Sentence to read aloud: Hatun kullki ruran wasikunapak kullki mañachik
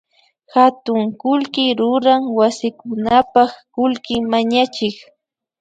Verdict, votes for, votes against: accepted, 2, 0